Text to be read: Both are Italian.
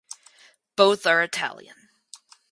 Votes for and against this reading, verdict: 4, 0, accepted